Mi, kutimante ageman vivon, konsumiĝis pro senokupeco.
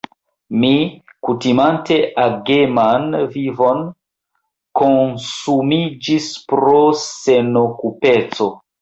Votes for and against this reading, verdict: 1, 2, rejected